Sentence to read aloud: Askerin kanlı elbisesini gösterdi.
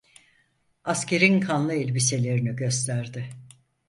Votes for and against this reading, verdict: 2, 4, rejected